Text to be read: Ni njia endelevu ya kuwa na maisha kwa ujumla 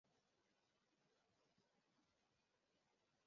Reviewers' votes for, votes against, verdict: 0, 2, rejected